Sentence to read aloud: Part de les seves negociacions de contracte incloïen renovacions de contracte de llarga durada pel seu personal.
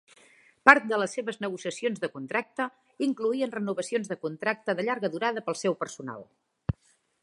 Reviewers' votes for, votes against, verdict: 4, 0, accepted